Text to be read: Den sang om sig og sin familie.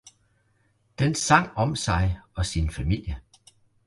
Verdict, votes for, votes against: accepted, 2, 0